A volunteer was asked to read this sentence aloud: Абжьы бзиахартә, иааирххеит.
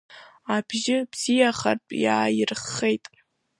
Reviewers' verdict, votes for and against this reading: rejected, 0, 2